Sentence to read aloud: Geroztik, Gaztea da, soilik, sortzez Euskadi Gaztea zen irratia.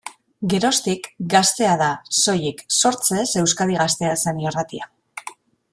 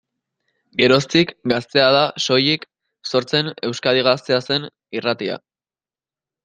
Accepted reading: first